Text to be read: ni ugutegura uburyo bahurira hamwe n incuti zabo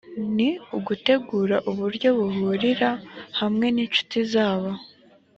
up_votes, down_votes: 2, 0